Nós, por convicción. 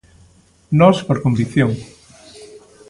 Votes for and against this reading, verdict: 2, 0, accepted